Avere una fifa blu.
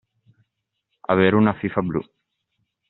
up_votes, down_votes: 2, 0